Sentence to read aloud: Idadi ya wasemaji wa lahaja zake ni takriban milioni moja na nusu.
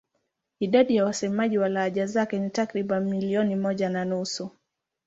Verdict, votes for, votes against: accepted, 2, 0